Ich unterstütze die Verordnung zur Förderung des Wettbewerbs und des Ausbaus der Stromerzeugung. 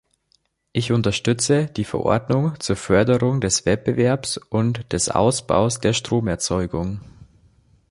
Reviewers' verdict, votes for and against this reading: accepted, 2, 0